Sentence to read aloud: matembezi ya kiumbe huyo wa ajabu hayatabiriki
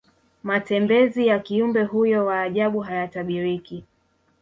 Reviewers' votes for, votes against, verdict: 2, 1, accepted